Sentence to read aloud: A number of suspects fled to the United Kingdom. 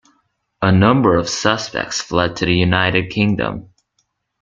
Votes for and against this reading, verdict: 2, 0, accepted